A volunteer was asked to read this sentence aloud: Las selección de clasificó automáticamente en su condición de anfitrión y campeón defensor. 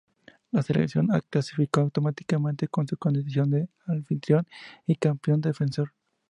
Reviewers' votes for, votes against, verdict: 0, 2, rejected